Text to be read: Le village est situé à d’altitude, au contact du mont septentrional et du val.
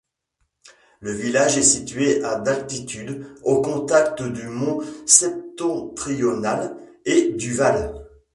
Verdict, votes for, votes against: rejected, 1, 2